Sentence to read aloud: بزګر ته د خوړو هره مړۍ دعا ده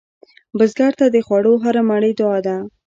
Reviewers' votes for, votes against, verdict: 2, 1, accepted